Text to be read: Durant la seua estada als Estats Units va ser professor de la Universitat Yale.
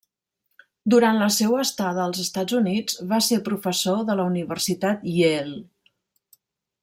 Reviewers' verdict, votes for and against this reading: rejected, 0, 2